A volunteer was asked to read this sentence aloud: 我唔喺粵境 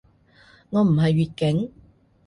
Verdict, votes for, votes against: rejected, 0, 2